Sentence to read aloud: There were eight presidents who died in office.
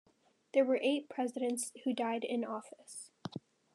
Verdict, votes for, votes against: accepted, 2, 0